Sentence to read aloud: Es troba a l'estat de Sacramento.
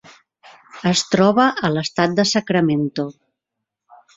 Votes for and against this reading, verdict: 3, 1, accepted